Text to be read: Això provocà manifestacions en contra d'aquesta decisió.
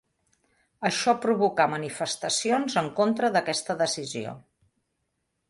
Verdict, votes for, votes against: accepted, 4, 0